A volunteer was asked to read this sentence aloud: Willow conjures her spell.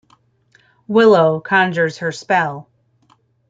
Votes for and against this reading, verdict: 1, 2, rejected